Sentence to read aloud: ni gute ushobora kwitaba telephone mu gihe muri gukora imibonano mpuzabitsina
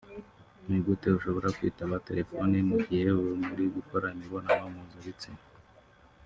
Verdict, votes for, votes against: accepted, 2, 1